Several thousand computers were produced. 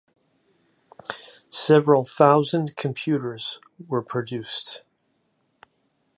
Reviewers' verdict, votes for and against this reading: accepted, 2, 0